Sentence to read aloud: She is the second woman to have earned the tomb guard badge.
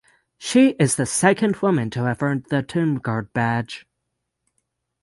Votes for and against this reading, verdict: 0, 3, rejected